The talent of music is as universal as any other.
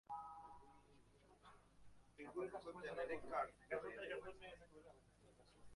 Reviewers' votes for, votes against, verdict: 0, 2, rejected